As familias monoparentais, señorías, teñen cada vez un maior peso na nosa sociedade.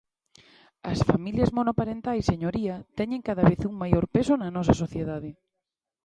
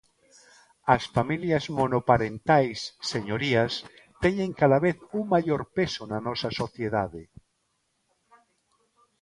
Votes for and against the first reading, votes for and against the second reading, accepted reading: 0, 2, 2, 0, second